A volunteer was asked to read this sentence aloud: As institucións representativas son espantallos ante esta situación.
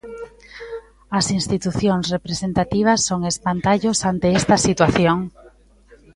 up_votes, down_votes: 0, 2